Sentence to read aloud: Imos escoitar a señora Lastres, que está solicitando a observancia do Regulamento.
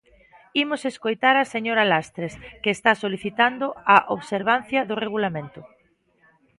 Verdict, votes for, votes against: accepted, 2, 0